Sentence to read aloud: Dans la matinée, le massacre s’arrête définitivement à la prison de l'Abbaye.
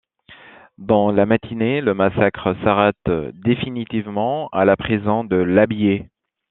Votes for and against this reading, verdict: 1, 2, rejected